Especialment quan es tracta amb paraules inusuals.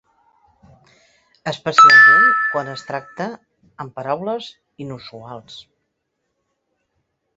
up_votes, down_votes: 2, 0